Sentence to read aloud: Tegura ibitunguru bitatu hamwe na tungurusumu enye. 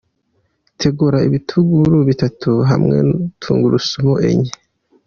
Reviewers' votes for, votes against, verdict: 2, 0, accepted